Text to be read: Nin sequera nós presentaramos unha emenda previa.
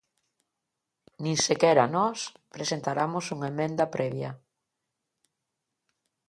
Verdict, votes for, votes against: accepted, 2, 1